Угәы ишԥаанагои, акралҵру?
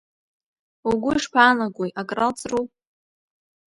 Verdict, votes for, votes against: accepted, 2, 0